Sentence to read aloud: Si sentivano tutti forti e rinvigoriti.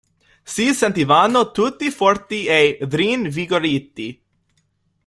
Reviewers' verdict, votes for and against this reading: rejected, 0, 2